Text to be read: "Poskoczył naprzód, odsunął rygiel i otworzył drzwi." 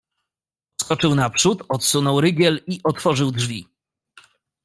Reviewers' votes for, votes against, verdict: 0, 2, rejected